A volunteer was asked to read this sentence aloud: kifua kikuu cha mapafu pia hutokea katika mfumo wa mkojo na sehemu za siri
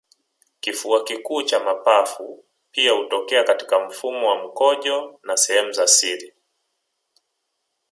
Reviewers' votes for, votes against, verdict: 2, 1, accepted